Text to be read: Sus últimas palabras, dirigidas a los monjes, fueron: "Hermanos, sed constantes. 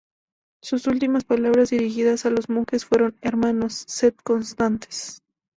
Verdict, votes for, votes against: accepted, 2, 0